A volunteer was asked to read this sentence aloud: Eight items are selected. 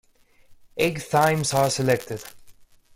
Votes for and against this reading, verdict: 1, 2, rejected